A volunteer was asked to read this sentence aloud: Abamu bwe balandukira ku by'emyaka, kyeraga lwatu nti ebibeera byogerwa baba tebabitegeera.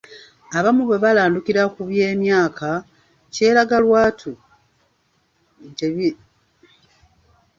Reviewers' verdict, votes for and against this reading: rejected, 0, 2